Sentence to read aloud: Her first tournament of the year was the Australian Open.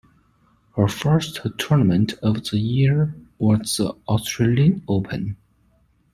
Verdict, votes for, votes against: accepted, 2, 0